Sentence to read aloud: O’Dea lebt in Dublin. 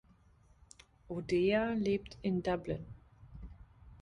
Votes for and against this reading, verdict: 2, 0, accepted